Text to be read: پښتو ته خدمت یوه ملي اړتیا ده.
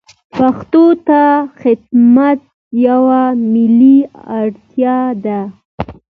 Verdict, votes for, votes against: accepted, 2, 0